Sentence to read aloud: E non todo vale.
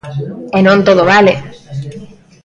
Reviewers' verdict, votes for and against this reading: rejected, 1, 2